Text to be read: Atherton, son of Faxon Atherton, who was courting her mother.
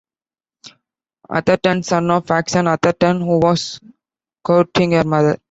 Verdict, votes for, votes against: rejected, 1, 2